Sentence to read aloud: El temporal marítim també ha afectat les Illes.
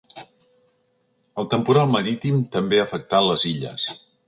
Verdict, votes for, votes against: accepted, 2, 0